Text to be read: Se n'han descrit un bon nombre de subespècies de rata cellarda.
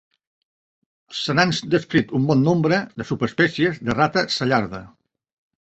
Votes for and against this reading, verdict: 1, 2, rejected